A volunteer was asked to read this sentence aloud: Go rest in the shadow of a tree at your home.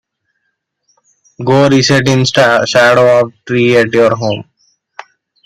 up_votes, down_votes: 1, 2